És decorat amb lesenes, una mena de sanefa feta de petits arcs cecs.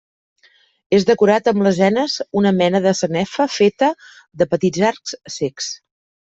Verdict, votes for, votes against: accepted, 2, 0